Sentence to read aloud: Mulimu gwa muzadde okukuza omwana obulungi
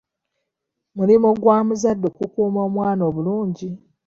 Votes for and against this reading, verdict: 0, 2, rejected